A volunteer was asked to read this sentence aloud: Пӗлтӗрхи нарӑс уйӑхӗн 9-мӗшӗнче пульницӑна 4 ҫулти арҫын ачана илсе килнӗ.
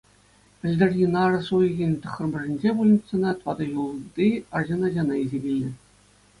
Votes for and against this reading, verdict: 0, 2, rejected